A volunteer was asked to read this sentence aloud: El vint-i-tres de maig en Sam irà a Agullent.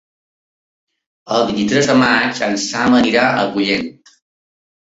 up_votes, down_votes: 1, 2